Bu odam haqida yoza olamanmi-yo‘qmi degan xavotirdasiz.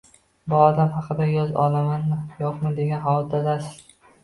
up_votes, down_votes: 0, 4